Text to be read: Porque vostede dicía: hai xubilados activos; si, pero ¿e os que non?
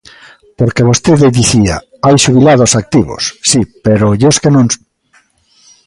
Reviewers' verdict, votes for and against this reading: rejected, 0, 2